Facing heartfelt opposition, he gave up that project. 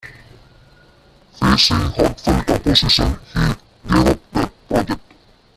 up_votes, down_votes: 1, 2